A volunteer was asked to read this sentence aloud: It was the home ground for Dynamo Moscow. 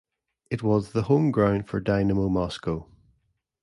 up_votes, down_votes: 2, 0